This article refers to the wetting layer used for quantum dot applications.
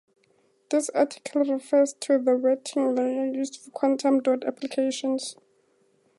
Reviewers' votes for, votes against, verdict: 4, 0, accepted